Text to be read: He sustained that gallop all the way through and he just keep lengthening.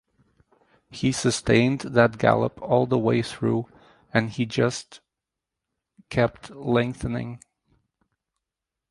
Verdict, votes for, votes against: rejected, 0, 2